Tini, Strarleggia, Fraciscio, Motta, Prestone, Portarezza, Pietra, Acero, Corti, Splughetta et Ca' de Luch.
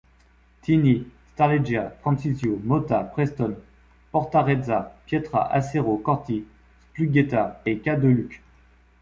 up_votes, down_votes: 2, 0